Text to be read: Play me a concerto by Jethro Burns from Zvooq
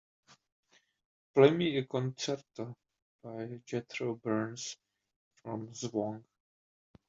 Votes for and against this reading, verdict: 2, 0, accepted